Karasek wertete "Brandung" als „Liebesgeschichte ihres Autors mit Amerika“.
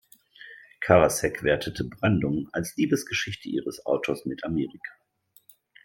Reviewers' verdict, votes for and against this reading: accepted, 2, 0